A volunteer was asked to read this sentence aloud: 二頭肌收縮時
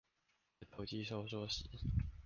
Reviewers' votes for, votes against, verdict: 0, 2, rejected